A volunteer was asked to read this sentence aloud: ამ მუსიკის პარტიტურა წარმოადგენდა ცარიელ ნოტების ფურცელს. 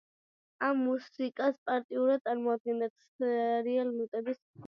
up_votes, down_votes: 1, 2